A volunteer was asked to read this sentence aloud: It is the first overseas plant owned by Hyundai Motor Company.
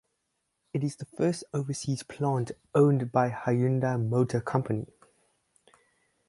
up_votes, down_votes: 4, 0